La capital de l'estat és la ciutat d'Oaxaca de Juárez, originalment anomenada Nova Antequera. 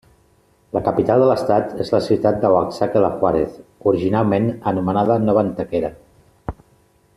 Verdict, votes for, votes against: accepted, 2, 0